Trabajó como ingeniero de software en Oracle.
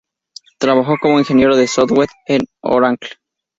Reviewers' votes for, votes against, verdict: 4, 0, accepted